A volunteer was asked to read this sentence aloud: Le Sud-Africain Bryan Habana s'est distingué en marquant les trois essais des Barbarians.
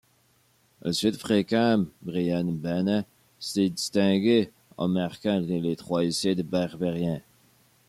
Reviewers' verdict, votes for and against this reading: accepted, 2, 1